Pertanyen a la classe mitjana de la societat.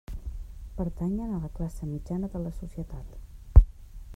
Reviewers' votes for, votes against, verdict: 1, 2, rejected